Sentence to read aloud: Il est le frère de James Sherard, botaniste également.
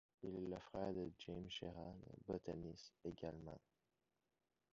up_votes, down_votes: 0, 2